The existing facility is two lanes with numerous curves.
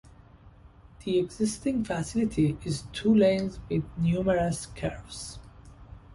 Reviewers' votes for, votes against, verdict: 2, 0, accepted